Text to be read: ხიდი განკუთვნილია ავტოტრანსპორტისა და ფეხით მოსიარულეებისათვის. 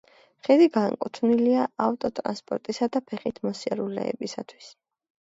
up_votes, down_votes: 2, 0